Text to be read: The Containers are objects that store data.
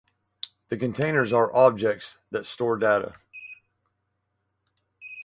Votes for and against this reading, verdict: 4, 0, accepted